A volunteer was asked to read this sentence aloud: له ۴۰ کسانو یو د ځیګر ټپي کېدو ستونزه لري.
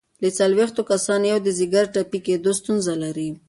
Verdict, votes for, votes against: rejected, 0, 2